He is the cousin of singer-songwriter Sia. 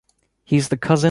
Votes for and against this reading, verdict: 1, 2, rejected